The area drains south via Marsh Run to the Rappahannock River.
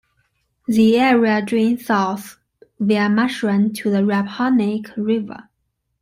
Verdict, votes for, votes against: accepted, 2, 0